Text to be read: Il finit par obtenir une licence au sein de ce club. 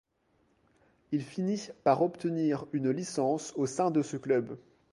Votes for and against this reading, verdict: 0, 2, rejected